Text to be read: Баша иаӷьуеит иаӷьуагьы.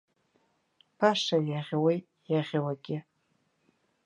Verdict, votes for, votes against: accepted, 2, 0